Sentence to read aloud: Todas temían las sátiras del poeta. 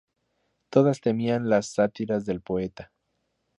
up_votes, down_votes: 2, 0